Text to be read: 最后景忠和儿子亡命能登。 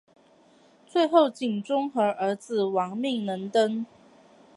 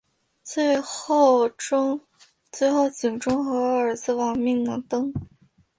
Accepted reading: first